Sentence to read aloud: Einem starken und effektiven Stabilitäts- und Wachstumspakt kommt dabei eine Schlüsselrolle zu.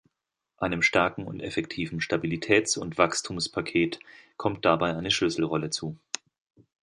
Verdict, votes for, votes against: rejected, 0, 2